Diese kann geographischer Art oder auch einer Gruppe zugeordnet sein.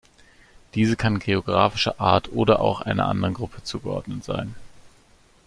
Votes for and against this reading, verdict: 0, 2, rejected